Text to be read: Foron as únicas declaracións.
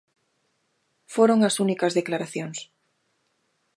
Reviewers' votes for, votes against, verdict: 2, 0, accepted